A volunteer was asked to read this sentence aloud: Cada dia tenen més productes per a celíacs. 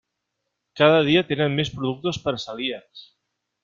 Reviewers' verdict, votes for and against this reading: accepted, 3, 0